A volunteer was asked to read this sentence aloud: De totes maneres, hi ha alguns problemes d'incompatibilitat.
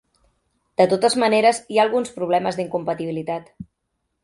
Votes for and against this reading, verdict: 3, 0, accepted